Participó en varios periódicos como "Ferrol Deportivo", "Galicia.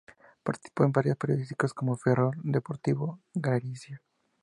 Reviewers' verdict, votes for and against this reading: rejected, 0, 2